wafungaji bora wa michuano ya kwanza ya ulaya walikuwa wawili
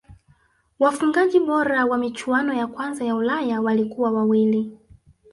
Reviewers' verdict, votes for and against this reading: accepted, 3, 0